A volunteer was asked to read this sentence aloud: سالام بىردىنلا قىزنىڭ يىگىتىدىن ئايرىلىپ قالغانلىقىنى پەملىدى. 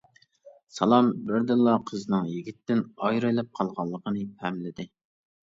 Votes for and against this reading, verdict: 0, 2, rejected